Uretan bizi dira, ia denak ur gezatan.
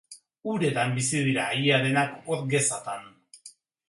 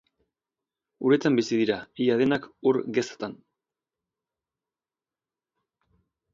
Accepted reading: second